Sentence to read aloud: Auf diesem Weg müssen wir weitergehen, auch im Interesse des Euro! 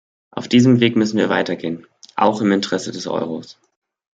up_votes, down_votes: 1, 2